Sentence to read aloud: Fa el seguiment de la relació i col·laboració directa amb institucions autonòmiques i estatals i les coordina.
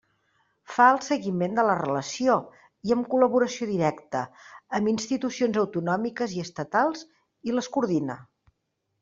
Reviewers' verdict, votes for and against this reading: rejected, 0, 2